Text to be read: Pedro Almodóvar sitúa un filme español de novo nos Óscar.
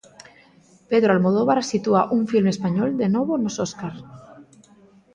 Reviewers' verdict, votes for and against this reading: accepted, 2, 0